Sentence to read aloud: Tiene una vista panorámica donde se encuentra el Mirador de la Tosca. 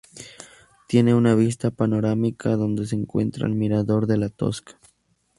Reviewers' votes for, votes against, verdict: 0, 2, rejected